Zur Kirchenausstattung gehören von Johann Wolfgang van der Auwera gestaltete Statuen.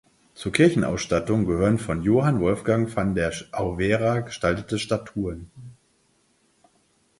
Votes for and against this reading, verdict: 2, 4, rejected